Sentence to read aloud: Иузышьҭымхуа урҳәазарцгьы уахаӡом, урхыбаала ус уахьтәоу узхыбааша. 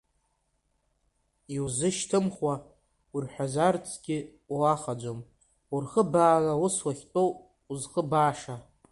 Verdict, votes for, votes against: rejected, 1, 2